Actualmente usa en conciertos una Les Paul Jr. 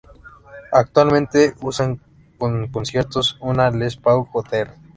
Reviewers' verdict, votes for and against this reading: rejected, 0, 2